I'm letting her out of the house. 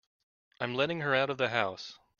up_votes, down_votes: 1, 2